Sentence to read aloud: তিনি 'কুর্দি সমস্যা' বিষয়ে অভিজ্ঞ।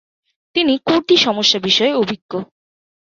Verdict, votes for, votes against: accepted, 3, 1